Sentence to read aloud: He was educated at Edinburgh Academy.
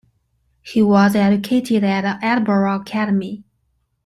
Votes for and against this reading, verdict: 2, 0, accepted